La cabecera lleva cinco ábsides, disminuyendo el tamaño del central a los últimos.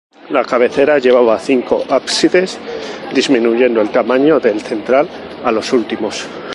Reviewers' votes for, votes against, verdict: 0, 2, rejected